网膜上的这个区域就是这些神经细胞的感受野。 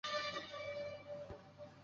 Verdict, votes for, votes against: rejected, 1, 4